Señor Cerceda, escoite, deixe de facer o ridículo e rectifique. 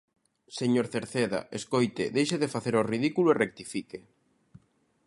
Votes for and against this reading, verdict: 2, 0, accepted